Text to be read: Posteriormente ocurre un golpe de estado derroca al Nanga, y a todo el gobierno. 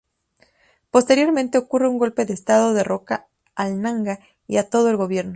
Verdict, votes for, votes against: accepted, 4, 0